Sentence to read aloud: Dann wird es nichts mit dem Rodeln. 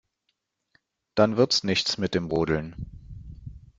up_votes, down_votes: 1, 2